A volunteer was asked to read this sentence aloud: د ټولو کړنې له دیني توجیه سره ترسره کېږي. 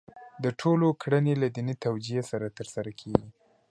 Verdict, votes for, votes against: accepted, 2, 1